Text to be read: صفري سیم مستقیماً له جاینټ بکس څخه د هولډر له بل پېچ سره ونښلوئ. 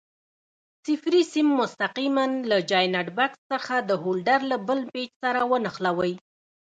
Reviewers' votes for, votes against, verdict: 1, 2, rejected